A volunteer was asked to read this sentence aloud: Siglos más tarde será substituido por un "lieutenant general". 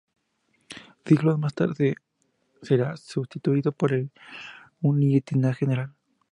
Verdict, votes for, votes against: rejected, 0, 2